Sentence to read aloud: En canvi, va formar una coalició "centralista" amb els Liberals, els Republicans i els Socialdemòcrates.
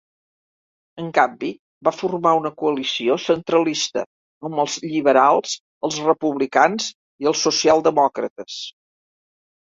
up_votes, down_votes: 1, 2